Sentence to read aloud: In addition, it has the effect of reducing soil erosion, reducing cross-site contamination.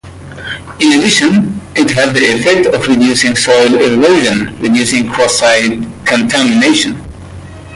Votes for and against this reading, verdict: 1, 2, rejected